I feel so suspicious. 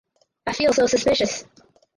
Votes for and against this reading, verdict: 4, 2, accepted